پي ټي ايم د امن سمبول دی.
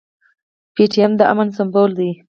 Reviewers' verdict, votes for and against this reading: rejected, 0, 4